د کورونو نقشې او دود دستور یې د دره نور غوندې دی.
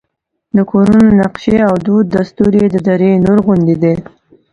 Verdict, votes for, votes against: accepted, 2, 0